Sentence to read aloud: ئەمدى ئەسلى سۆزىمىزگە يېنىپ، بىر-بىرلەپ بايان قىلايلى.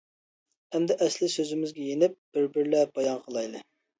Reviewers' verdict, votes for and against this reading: accepted, 2, 0